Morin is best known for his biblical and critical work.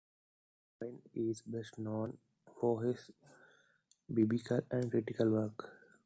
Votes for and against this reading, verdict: 1, 2, rejected